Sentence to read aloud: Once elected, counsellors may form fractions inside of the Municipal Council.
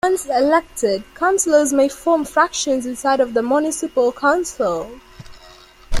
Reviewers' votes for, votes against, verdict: 0, 2, rejected